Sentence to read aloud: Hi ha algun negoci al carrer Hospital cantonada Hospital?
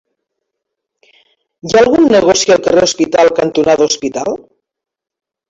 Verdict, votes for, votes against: accepted, 3, 1